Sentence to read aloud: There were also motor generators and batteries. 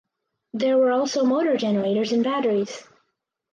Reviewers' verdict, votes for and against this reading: accepted, 4, 2